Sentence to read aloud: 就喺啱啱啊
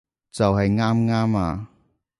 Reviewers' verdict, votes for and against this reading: accepted, 2, 0